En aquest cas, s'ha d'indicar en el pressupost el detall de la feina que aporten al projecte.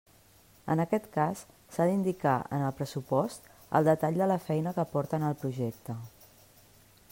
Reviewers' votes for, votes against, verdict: 2, 0, accepted